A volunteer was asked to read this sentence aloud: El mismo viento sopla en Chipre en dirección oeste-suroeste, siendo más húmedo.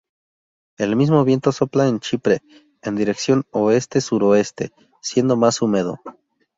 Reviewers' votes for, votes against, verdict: 2, 0, accepted